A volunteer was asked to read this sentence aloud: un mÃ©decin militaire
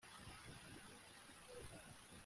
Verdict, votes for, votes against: rejected, 1, 2